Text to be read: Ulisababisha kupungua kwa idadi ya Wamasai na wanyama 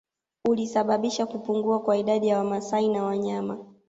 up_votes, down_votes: 2, 0